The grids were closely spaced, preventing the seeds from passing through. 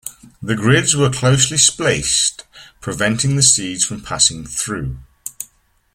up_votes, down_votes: 1, 2